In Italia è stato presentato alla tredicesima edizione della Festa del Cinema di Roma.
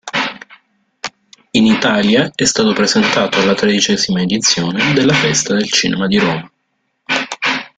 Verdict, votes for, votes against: rejected, 1, 2